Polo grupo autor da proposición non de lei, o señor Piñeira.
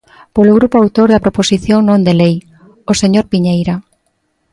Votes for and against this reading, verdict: 2, 0, accepted